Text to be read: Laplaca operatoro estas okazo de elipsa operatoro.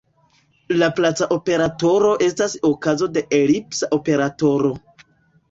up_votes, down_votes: 2, 0